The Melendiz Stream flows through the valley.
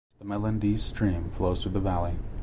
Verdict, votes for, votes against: rejected, 1, 2